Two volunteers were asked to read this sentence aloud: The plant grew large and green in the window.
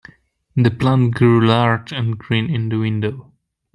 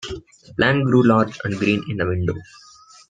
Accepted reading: first